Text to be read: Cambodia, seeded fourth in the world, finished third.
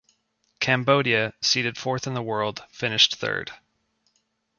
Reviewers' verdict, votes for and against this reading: accepted, 2, 0